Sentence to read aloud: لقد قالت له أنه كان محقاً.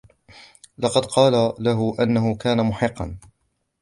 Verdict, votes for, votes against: rejected, 0, 2